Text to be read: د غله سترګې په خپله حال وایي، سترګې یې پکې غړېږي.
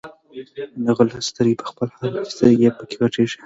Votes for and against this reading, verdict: 1, 2, rejected